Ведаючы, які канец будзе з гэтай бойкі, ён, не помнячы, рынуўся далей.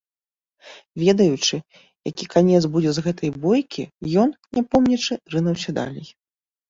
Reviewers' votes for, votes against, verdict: 0, 2, rejected